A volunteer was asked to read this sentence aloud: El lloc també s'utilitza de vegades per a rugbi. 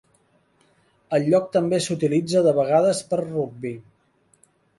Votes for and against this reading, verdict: 0, 2, rejected